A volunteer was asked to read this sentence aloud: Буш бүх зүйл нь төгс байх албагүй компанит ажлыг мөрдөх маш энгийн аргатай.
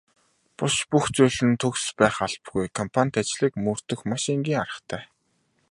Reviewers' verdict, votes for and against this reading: accepted, 2, 0